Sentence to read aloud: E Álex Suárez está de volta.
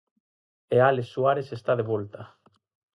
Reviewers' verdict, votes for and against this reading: accepted, 4, 0